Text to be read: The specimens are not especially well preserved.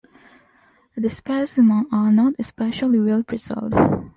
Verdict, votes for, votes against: rejected, 1, 2